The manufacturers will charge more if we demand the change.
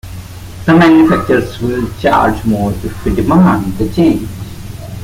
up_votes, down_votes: 2, 1